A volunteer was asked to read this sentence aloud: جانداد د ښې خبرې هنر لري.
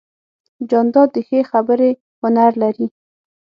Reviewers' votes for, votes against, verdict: 6, 0, accepted